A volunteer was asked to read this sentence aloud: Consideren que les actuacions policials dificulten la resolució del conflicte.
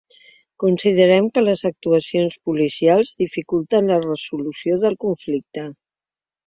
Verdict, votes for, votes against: rejected, 1, 2